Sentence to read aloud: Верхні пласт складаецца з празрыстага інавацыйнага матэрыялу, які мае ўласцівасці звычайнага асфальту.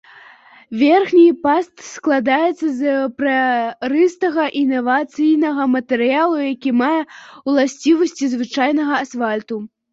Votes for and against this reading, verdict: 0, 2, rejected